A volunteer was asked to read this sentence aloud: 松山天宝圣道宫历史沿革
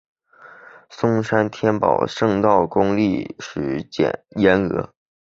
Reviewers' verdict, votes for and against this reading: rejected, 1, 2